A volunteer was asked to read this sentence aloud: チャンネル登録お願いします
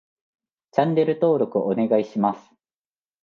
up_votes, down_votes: 2, 0